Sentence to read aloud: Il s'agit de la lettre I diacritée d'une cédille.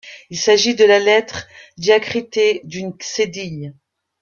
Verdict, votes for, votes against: rejected, 0, 2